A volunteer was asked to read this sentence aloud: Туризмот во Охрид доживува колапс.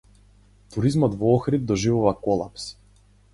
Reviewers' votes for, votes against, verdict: 4, 0, accepted